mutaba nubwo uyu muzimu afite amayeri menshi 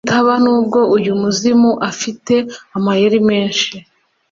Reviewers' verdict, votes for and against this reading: accepted, 3, 0